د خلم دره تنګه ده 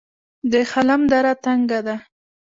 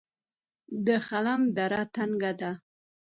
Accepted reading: second